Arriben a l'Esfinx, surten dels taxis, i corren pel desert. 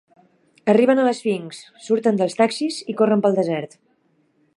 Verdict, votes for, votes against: accepted, 2, 1